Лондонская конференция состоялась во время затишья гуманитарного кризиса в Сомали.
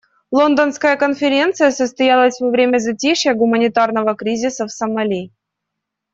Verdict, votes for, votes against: accepted, 2, 0